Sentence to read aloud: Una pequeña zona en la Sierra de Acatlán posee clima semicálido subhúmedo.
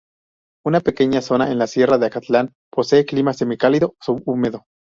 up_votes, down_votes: 0, 2